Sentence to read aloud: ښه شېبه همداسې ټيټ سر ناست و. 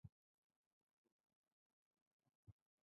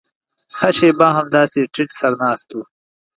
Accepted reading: second